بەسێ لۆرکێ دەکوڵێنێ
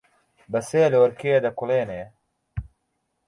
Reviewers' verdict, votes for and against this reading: accepted, 2, 0